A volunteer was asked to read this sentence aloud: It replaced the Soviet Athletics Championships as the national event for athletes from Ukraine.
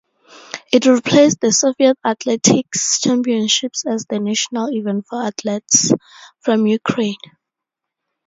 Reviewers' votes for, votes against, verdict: 2, 2, rejected